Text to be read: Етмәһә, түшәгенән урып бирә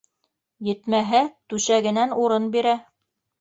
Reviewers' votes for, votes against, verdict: 1, 2, rejected